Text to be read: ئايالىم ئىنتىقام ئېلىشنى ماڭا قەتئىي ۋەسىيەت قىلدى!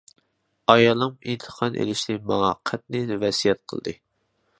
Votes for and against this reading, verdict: 0, 2, rejected